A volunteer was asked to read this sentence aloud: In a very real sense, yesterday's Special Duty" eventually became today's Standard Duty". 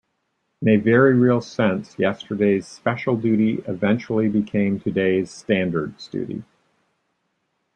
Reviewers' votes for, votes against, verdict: 1, 2, rejected